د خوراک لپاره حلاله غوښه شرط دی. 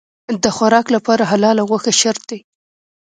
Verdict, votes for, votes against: rejected, 1, 2